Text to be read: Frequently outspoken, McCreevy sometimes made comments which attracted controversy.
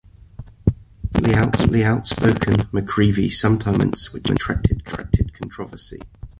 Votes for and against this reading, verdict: 0, 2, rejected